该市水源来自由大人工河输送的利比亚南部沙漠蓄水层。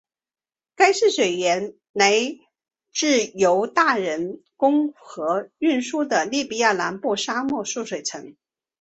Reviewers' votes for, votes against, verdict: 2, 2, rejected